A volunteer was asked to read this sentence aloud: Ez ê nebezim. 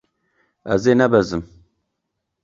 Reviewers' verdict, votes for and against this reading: accepted, 2, 0